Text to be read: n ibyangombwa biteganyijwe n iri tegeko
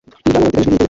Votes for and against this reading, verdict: 1, 2, rejected